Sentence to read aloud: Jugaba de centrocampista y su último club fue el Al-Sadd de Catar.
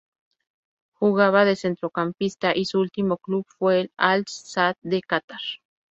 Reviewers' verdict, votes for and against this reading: rejected, 0, 2